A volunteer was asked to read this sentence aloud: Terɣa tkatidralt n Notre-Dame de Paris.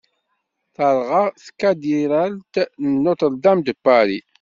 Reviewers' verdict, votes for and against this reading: rejected, 0, 2